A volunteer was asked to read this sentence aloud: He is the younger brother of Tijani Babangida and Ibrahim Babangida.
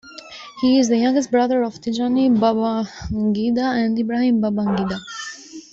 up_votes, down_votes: 0, 2